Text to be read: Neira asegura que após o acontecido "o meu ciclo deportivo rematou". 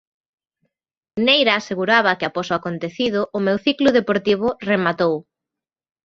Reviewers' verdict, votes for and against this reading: rejected, 1, 2